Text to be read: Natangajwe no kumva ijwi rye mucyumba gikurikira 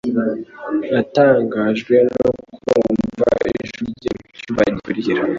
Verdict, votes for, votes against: accepted, 2, 0